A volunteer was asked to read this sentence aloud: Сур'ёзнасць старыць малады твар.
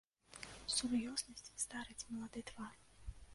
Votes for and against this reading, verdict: 0, 2, rejected